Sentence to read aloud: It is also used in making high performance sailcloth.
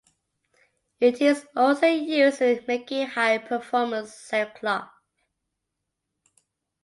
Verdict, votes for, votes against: accepted, 2, 1